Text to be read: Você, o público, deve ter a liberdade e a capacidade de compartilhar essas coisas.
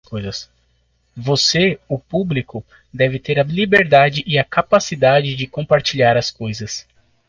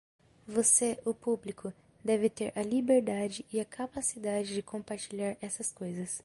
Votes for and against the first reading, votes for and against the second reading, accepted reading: 0, 2, 2, 0, second